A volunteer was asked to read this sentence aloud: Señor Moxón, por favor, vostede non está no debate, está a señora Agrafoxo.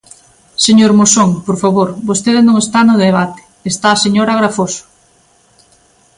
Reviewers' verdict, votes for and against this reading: accepted, 2, 0